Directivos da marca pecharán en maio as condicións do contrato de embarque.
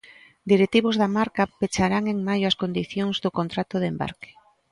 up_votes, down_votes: 3, 0